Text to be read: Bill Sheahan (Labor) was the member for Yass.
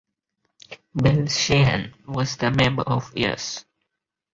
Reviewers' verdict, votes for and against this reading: rejected, 0, 4